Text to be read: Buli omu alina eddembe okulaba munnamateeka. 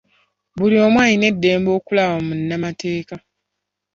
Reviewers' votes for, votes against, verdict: 2, 0, accepted